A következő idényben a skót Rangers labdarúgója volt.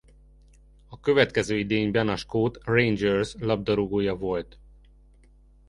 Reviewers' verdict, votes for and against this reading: accepted, 2, 0